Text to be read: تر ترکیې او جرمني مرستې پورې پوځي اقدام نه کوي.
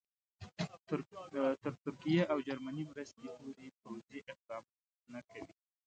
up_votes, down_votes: 2, 0